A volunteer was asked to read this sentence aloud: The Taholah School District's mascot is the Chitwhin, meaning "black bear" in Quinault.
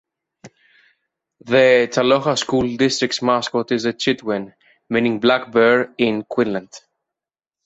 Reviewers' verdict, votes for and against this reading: rejected, 1, 2